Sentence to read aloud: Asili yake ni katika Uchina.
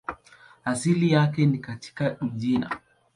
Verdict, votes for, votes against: accepted, 2, 0